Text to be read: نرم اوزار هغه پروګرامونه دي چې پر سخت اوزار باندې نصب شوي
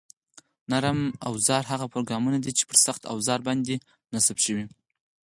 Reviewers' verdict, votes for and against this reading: rejected, 0, 4